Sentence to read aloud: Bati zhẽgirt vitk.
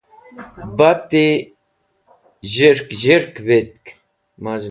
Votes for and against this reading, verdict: 0, 2, rejected